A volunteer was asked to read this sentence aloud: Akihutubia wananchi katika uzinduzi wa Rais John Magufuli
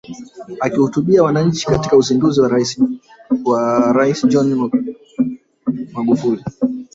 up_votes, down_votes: 2, 3